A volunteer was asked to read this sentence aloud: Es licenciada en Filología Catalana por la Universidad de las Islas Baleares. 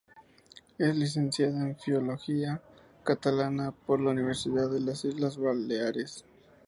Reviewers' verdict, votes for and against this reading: rejected, 0, 2